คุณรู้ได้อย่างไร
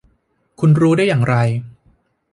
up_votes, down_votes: 2, 0